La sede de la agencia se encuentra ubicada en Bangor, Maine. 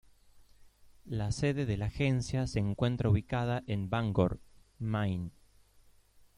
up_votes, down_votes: 2, 0